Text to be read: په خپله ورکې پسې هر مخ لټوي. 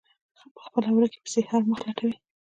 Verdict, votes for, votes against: rejected, 1, 2